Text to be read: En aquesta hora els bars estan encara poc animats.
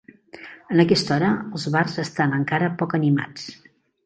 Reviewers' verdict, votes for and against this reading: accepted, 4, 0